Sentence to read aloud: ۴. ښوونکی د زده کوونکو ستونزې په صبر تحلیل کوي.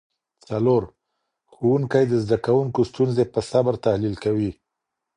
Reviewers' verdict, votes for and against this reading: rejected, 0, 2